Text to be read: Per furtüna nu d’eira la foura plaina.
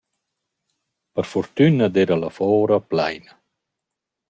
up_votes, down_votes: 0, 2